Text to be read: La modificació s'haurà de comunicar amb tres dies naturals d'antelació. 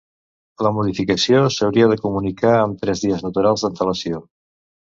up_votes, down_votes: 1, 2